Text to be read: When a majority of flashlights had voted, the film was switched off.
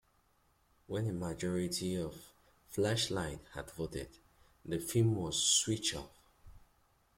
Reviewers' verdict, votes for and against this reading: accepted, 2, 1